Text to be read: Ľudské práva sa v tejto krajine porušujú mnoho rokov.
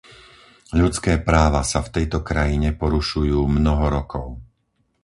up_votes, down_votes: 4, 0